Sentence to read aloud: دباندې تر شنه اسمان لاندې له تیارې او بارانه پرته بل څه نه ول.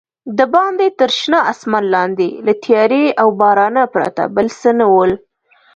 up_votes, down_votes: 2, 0